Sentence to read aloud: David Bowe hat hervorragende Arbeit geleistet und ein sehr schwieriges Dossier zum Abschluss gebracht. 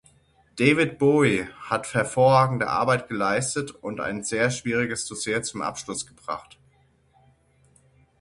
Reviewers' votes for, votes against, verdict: 3, 6, rejected